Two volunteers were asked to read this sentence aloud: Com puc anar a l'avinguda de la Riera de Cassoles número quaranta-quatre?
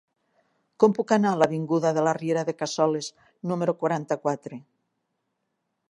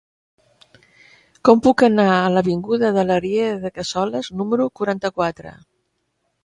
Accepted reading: first